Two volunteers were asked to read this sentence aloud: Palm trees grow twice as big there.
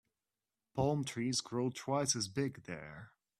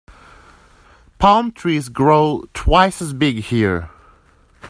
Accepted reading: first